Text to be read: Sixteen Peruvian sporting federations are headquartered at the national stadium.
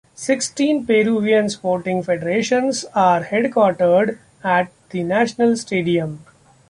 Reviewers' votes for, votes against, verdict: 2, 0, accepted